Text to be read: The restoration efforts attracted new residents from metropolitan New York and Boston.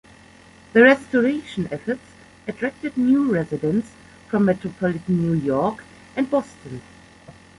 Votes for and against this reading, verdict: 1, 2, rejected